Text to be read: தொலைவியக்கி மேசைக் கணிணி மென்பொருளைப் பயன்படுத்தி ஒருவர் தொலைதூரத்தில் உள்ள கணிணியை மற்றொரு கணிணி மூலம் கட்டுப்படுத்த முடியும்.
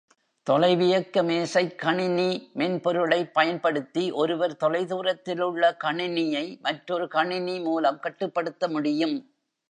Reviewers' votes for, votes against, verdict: 1, 2, rejected